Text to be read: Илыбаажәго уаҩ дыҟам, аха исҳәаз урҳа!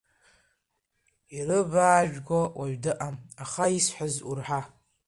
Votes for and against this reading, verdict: 2, 0, accepted